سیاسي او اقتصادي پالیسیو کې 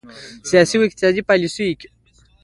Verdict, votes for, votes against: rejected, 1, 2